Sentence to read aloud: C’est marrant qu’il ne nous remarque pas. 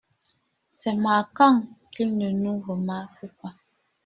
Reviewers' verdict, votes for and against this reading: rejected, 1, 2